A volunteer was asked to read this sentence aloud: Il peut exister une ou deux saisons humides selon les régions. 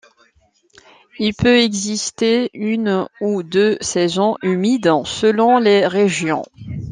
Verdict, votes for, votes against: accepted, 2, 1